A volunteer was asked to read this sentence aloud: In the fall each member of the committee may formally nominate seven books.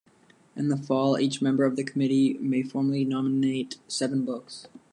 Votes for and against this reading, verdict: 2, 0, accepted